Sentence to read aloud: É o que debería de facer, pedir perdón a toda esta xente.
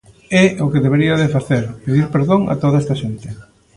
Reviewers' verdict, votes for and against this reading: accepted, 2, 0